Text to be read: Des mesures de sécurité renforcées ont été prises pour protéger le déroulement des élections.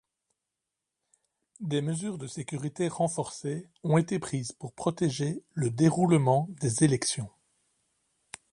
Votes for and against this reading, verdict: 2, 0, accepted